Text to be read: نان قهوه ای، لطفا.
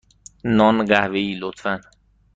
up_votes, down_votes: 2, 0